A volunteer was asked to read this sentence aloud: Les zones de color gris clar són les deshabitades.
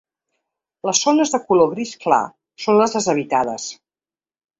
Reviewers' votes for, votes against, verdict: 3, 0, accepted